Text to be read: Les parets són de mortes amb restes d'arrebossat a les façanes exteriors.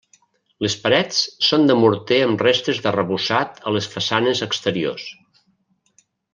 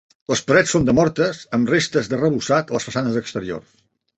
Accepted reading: second